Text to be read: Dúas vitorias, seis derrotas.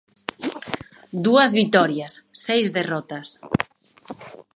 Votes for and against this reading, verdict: 2, 0, accepted